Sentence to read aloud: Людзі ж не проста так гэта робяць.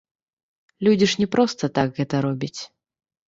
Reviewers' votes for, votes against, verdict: 1, 2, rejected